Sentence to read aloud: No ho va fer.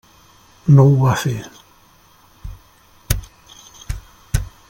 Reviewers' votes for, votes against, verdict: 3, 0, accepted